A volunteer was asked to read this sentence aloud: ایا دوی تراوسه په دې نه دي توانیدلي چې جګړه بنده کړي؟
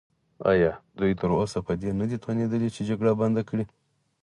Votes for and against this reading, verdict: 4, 0, accepted